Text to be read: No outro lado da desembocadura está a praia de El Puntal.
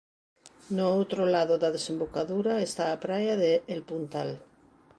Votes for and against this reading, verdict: 2, 0, accepted